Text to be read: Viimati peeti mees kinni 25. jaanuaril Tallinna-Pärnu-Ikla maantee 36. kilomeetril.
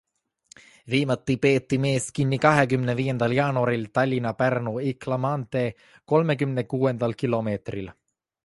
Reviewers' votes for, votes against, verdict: 0, 2, rejected